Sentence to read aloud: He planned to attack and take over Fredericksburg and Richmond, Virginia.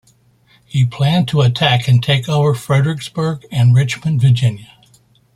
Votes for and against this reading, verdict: 2, 0, accepted